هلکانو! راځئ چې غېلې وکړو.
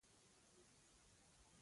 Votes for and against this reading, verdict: 0, 2, rejected